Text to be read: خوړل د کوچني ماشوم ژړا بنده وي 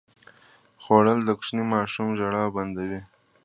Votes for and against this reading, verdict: 2, 0, accepted